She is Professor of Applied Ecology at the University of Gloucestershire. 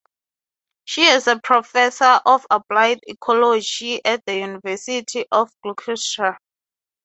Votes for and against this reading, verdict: 0, 3, rejected